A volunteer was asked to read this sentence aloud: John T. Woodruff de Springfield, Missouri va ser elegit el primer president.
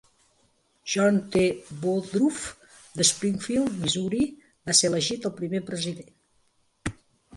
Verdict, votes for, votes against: accepted, 3, 0